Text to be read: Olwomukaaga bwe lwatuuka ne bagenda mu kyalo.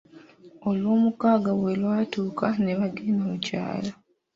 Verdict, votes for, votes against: accepted, 2, 0